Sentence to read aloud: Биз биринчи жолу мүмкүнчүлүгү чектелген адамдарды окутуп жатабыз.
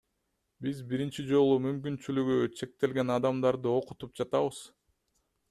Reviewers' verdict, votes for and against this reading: accepted, 2, 0